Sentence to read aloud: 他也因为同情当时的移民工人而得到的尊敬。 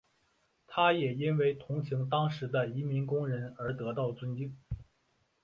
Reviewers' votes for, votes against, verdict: 2, 1, accepted